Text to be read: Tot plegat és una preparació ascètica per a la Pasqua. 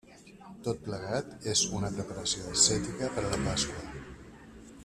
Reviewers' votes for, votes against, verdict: 0, 2, rejected